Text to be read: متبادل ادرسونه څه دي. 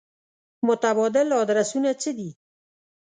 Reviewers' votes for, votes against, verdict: 2, 0, accepted